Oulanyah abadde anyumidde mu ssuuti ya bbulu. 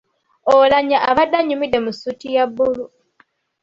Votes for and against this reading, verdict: 2, 0, accepted